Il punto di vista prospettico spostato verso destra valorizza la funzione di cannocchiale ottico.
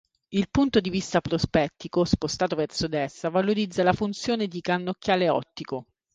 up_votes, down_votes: 2, 0